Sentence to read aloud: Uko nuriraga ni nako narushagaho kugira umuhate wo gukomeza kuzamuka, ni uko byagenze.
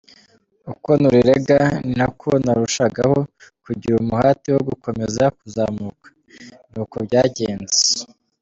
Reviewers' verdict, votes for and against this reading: accepted, 2, 0